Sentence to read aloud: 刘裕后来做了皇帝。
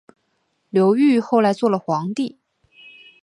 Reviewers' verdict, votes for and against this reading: accepted, 3, 0